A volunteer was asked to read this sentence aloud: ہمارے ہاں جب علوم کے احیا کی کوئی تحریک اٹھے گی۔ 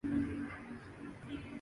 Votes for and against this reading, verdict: 1, 2, rejected